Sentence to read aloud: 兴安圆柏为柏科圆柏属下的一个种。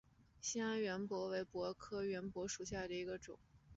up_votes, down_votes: 2, 0